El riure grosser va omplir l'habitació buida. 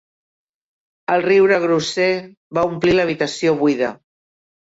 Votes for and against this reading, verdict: 2, 0, accepted